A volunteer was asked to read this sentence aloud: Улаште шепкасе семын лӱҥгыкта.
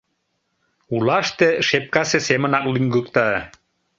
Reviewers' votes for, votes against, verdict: 1, 2, rejected